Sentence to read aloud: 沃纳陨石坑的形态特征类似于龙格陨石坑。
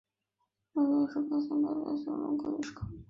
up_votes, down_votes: 0, 2